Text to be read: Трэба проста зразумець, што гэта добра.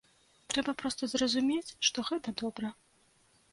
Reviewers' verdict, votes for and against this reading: accepted, 2, 0